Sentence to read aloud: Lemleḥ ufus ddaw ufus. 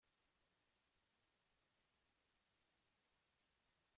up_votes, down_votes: 0, 3